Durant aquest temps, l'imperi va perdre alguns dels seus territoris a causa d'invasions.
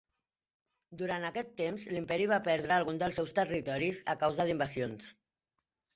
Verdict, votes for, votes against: accepted, 2, 1